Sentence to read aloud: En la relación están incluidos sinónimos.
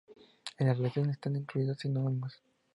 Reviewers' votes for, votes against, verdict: 2, 2, rejected